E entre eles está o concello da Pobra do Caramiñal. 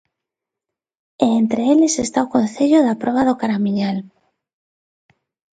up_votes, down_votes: 0, 2